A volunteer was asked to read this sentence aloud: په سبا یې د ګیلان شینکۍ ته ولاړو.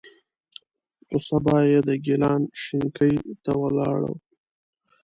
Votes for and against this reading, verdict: 2, 1, accepted